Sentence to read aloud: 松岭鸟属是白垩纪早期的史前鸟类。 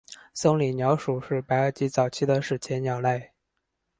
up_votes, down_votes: 4, 0